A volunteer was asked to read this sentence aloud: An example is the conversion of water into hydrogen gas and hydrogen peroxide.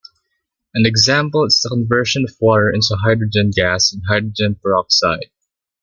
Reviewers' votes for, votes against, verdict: 1, 2, rejected